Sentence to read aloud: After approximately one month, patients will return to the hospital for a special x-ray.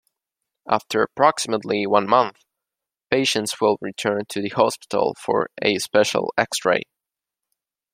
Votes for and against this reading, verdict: 2, 0, accepted